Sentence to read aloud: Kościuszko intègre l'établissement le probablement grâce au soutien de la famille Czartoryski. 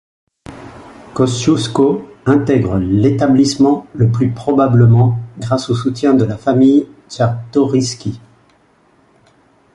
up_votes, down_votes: 1, 2